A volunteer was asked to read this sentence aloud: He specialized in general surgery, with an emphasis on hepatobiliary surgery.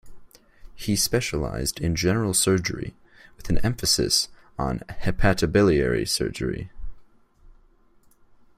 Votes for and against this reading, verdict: 2, 0, accepted